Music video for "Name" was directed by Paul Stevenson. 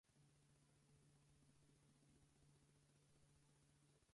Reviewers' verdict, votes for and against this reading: rejected, 0, 4